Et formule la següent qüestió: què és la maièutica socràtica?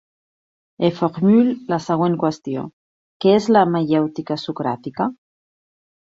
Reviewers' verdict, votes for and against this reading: rejected, 0, 2